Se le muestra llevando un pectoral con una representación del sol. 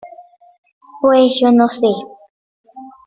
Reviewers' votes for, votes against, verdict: 0, 2, rejected